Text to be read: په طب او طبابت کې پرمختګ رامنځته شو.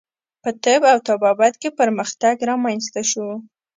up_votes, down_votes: 2, 0